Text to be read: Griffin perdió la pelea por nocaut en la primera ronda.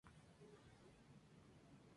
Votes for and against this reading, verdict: 0, 2, rejected